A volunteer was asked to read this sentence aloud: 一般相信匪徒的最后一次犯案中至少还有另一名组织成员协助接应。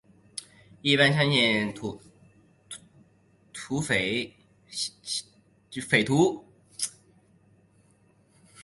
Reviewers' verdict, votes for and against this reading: rejected, 3, 5